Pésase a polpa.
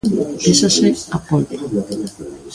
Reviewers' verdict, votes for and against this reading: rejected, 0, 2